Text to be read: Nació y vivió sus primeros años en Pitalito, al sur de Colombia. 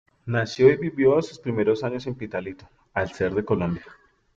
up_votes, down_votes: 0, 2